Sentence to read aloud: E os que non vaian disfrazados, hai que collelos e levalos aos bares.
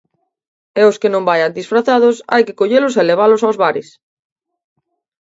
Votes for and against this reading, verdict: 2, 0, accepted